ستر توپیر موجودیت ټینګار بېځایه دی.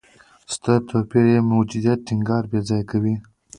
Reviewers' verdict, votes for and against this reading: accepted, 2, 0